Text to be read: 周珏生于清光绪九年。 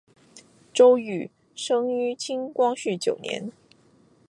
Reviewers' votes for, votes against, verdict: 1, 2, rejected